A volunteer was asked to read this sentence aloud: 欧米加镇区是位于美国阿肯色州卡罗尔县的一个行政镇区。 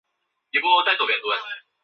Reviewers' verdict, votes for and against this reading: rejected, 0, 2